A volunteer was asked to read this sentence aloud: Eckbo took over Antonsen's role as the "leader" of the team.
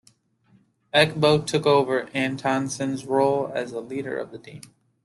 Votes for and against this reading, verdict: 2, 0, accepted